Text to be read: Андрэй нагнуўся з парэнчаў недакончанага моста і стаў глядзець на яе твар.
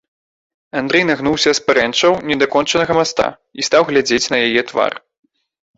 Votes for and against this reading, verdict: 1, 2, rejected